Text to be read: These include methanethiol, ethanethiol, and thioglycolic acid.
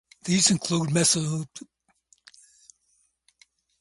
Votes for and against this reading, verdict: 0, 4, rejected